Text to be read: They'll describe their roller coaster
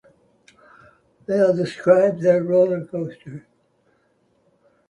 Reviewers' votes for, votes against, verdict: 2, 0, accepted